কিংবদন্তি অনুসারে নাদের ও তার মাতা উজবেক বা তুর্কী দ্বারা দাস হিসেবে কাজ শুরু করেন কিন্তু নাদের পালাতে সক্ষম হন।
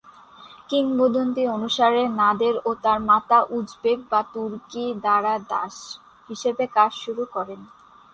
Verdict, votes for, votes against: rejected, 0, 2